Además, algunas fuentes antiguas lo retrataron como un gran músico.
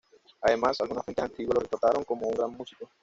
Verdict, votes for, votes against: rejected, 1, 2